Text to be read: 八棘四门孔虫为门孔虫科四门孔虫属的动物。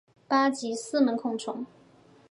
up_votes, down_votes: 0, 2